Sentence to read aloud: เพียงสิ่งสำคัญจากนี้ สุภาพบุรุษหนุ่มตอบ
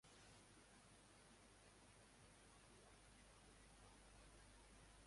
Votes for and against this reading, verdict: 0, 2, rejected